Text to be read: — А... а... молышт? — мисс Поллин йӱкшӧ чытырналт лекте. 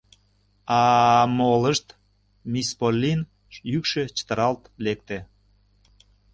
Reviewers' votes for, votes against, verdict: 0, 2, rejected